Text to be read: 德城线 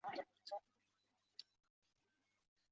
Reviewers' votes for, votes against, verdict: 2, 8, rejected